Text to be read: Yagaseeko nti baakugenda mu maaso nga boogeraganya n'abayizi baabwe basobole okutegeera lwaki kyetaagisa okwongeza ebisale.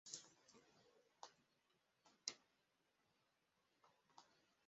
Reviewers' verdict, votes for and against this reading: rejected, 0, 2